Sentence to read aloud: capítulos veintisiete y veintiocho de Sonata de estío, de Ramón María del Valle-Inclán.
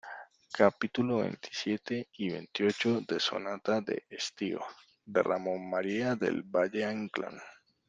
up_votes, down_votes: 2, 0